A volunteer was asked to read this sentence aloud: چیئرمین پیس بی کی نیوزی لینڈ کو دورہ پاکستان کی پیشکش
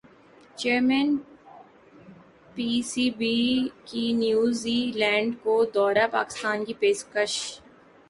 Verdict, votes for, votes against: rejected, 3, 4